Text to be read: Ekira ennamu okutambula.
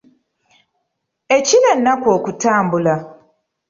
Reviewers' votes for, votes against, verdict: 0, 2, rejected